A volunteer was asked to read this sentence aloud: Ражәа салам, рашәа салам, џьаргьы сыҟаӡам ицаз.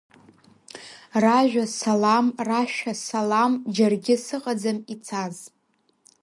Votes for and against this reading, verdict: 2, 1, accepted